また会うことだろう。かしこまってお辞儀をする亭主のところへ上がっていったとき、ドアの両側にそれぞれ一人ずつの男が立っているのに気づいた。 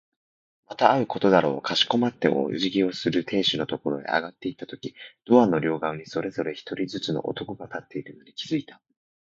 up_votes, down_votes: 2, 0